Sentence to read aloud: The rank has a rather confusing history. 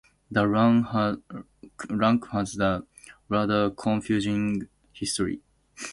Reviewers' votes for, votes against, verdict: 2, 0, accepted